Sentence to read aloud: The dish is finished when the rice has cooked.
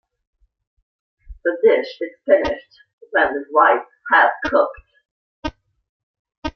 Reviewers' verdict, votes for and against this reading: accepted, 2, 0